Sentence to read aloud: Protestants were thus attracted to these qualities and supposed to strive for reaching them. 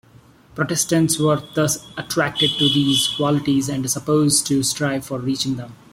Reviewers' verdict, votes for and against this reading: accepted, 2, 0